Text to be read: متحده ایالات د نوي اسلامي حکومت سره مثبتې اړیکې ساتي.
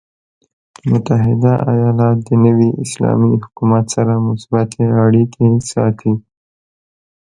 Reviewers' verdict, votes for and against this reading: accepted, 2, 0